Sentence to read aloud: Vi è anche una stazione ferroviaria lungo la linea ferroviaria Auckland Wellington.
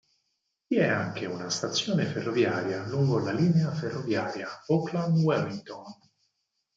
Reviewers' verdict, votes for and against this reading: rejected, 0, 4